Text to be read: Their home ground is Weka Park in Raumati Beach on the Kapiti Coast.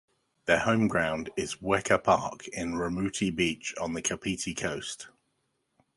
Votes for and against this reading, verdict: 2, 0, accepted